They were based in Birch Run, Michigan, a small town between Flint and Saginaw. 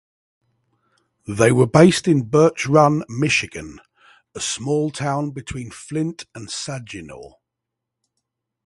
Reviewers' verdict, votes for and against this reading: rejected, 3, 3